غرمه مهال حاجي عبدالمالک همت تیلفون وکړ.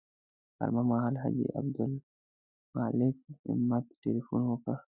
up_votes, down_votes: 1, 2